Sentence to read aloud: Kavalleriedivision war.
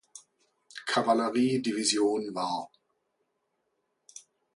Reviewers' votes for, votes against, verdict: 2, 0, accepted